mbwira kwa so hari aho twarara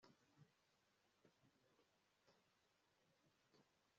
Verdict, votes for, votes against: rejected, 0, 2